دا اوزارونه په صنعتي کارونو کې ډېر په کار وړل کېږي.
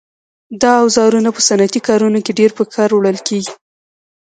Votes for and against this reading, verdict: 0, 2, rejected